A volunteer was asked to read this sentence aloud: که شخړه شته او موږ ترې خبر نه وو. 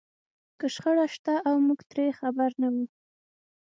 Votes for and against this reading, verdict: 6, 0, accepted